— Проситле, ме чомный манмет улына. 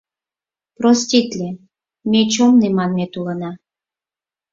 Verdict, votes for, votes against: rejected, 2, 4